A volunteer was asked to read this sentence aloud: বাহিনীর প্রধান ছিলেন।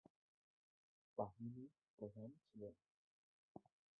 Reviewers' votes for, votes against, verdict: 0, 2, rejected